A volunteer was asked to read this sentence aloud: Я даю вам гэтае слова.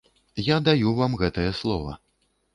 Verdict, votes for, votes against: accepted, 2, 0